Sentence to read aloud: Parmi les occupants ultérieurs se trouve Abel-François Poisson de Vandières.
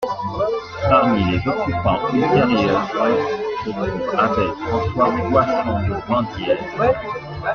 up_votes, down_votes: 0, 2